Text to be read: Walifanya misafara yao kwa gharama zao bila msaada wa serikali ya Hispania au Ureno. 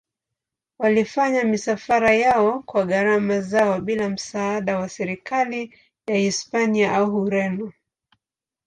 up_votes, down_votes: 2, 0